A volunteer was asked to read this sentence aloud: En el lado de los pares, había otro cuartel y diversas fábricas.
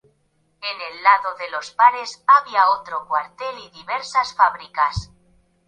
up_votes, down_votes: 0, 2